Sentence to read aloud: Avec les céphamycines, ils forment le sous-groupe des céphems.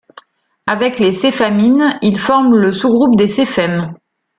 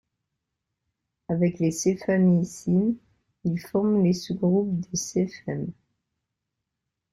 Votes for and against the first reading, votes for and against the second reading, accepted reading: 2, 1, 0, 2, first